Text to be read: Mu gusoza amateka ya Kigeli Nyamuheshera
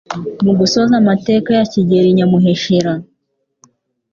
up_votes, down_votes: 3, 0